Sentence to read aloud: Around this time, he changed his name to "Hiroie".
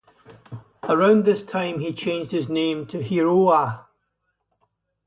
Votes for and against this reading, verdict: 2, 2, rejected